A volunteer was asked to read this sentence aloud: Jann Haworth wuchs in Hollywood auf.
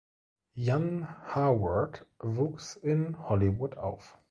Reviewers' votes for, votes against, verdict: 1, 2, rejected